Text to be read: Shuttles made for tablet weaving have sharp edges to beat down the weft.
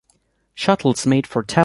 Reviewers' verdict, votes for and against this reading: rejected, 0, 2